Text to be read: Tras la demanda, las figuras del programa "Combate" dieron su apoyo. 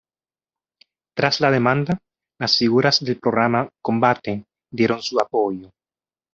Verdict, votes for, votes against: accepted, 2, 0